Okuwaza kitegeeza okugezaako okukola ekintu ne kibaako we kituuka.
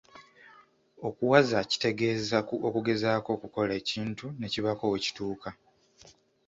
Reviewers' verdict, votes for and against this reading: accepted, 2, 0